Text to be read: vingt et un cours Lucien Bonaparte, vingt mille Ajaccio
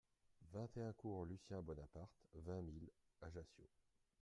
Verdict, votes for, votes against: rejected, 0, 2